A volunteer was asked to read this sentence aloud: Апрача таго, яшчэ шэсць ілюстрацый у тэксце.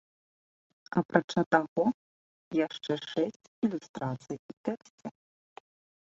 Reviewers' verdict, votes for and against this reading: accepted, 2, 1